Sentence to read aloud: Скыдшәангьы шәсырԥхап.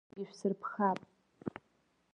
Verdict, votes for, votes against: rejected, 0, 2